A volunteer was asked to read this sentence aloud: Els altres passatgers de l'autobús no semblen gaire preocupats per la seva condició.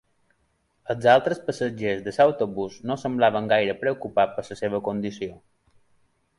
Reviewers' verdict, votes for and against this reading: rejected, 0, 2